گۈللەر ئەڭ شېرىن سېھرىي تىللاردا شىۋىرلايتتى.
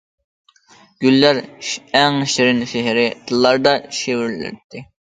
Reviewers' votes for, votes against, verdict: 0, 2, rejected